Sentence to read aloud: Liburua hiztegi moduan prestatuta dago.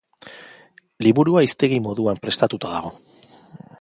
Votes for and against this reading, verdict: 2, 0, accepted